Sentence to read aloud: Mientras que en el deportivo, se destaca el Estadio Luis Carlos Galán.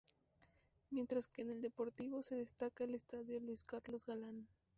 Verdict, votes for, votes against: rejected, 2, 2